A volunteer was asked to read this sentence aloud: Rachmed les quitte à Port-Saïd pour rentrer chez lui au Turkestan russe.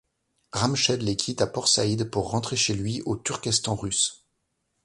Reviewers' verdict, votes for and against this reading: accepted, 2, 1